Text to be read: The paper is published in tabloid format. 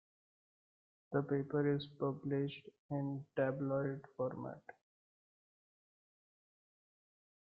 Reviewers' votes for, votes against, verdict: 1, 2, rejected